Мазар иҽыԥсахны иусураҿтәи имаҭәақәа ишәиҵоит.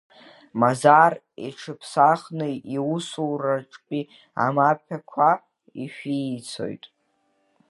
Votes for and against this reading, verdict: 0, 2, rejected